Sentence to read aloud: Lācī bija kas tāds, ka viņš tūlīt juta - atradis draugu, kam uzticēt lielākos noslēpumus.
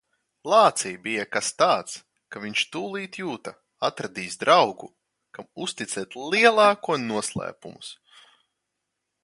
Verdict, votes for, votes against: rejected, 0, 2